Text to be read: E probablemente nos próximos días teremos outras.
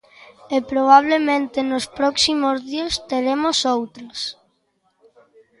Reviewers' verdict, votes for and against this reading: accepted, 2, 0